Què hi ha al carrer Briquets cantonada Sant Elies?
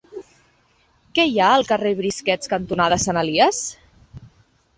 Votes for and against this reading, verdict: 0, 2, rejected